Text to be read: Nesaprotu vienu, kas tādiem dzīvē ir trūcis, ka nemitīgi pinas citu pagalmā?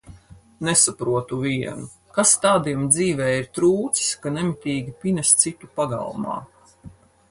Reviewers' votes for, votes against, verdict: 4, 0, accepted